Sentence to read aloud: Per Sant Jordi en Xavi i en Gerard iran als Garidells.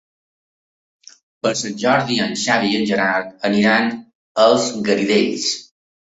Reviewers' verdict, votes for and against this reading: rejected, 0, 2